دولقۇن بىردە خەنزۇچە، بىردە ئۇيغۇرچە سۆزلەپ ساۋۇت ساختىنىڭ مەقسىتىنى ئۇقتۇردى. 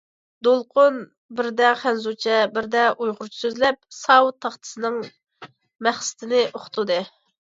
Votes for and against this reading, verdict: 1, 2, rejected